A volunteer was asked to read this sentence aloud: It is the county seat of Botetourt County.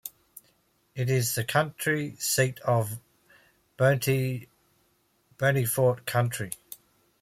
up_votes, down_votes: 1, 2